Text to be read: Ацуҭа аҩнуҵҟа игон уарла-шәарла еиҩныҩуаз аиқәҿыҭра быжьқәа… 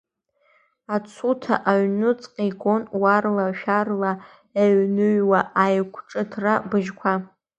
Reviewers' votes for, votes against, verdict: 1, 2, rejected